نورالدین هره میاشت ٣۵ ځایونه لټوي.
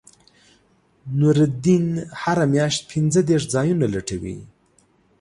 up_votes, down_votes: 0, 2